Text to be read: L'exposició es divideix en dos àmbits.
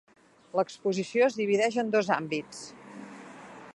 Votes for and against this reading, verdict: 4, 1, accepted